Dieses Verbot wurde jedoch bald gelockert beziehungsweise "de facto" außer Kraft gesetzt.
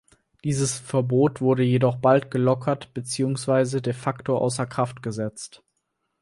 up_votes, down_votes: 4, 0